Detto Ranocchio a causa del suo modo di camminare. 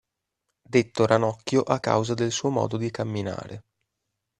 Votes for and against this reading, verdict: 2, 0, accepted